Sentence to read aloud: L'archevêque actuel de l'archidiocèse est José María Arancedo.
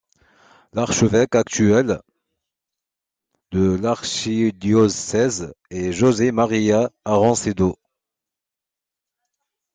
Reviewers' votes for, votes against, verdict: 1, 2, rejected